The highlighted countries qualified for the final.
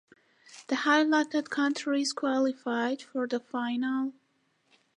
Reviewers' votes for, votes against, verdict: 2, 0, accepted